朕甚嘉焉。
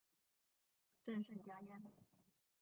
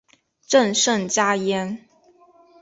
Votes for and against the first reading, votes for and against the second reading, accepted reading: 1, 2, 2, 0, second